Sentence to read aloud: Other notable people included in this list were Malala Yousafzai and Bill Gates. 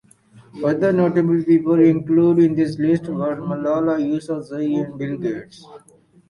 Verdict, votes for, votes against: accepted, 4, 2